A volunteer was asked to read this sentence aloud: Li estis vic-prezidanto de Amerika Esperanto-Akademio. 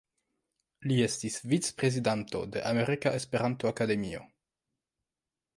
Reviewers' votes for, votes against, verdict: 2, 1, accepted